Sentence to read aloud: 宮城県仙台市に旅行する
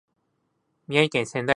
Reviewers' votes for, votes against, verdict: 0, 2, rejected